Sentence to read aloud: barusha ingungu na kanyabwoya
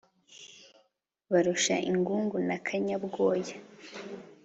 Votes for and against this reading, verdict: 2, 0, accepted